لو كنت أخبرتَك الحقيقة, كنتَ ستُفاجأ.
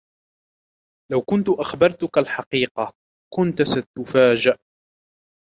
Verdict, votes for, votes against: accepted, 2, 0